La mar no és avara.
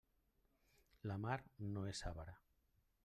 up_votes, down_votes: 3, 0